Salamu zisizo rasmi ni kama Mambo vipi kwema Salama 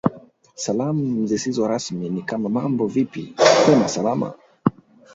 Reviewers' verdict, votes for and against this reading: rejected, 0, 2